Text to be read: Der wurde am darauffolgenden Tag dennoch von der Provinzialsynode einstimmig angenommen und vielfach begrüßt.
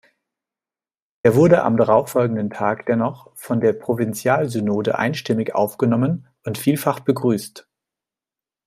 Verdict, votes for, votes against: rejected, 0, 2